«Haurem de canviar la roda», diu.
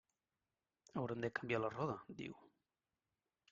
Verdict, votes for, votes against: accepted, 2, 0